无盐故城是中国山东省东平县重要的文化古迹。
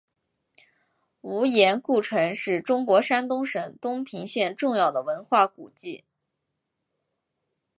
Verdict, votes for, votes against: accepted, 4, 0